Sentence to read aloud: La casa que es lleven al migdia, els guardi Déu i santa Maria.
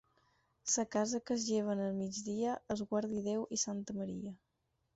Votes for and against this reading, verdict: 0, 6, rejected